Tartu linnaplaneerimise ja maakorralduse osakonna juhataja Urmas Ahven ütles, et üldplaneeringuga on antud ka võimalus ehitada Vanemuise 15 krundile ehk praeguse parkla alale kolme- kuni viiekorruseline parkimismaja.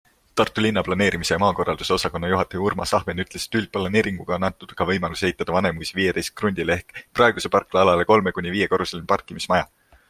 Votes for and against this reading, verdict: 0, 2, rejected